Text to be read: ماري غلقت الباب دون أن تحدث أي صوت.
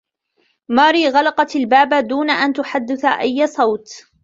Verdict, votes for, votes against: rejected, 0, 2